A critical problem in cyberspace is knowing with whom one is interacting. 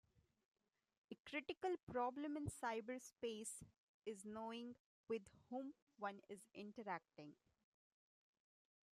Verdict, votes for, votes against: accepted, 2, 0